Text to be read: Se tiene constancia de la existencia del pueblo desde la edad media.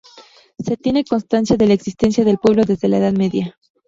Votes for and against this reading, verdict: 2, 0, accepted